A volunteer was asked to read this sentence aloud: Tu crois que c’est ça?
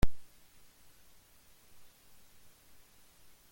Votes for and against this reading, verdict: 0, 2, rejected